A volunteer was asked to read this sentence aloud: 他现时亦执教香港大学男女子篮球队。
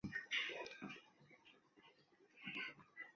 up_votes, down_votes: 0, 3